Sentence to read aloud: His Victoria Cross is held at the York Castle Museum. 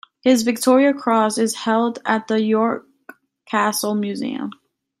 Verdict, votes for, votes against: accepted, 2, 0